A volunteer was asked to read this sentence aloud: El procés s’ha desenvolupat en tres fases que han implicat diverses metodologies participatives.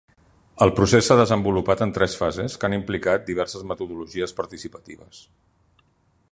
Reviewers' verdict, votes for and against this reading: accepted, 2, 0